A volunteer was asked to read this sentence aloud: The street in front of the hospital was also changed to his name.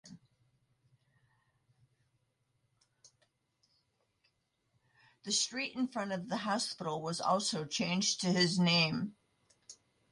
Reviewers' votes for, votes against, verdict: 1, 2, rejected